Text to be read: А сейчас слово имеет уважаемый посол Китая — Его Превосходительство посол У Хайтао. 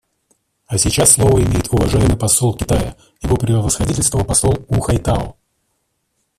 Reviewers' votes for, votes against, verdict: 0, 2, rejected